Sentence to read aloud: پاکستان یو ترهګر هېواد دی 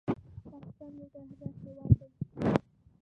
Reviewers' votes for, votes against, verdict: 0, 2, rejected